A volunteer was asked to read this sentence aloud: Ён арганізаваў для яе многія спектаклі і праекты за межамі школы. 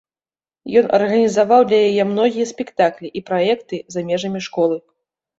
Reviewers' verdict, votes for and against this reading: accepted, 2, 0